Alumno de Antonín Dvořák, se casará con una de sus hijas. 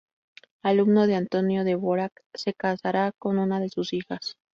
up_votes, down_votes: 2, 0